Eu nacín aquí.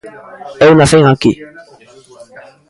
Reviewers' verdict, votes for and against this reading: accepted, 2, 1